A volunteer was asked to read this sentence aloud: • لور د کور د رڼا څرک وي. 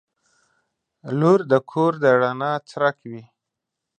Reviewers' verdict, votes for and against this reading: accepted, 2, 0